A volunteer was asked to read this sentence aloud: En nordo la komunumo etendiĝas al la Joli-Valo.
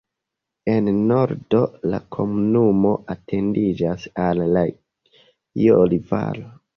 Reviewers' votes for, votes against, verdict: 0, 2, rejected